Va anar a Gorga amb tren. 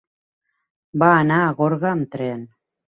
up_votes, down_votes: 4, 0